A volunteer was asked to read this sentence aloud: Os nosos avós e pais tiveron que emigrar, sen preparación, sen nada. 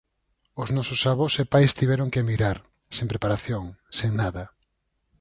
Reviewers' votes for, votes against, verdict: 4, 2, accepted